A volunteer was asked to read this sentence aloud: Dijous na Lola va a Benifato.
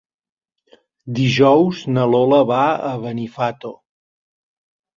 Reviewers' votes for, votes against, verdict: 3, 1, accepted